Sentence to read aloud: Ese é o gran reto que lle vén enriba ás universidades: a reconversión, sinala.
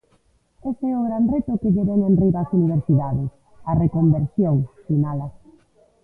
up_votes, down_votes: 0, 2